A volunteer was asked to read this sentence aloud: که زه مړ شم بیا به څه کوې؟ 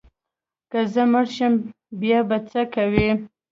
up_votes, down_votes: 1, 2